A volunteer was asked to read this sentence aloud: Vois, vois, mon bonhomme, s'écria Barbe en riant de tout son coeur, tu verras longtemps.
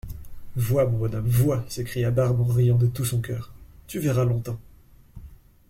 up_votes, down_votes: 0, 2